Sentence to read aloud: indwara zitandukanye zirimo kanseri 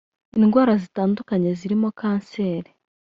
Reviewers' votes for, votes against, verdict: 1, 2, rejected